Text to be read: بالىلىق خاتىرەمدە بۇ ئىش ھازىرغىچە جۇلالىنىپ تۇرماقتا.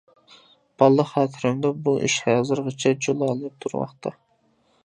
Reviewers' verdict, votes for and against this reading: accepted, 2, 0